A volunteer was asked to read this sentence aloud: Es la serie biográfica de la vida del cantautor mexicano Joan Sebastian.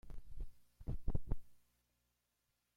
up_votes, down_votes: 0, 2